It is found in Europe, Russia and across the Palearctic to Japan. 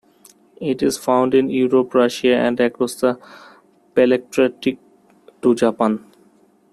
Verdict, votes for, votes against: rejected, 0, 3